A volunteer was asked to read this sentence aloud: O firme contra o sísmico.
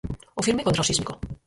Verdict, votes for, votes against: rejected, 2, 4